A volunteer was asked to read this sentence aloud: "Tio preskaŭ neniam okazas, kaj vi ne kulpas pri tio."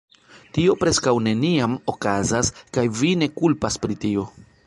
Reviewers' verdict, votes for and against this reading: accepted, 2, 1